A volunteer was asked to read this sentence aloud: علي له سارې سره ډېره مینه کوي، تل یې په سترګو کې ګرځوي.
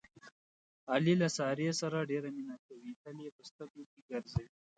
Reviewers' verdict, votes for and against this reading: rejected, 0, 2